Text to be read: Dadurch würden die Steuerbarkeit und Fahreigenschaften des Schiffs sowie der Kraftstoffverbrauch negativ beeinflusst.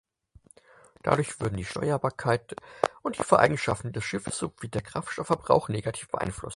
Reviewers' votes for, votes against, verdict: 2, 6, rejected